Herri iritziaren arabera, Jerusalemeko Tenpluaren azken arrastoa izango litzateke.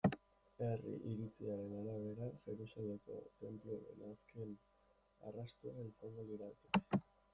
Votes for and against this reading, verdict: 0, 2, rejected